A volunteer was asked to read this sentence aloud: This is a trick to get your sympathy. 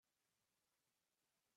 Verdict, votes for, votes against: rejected, 0, 4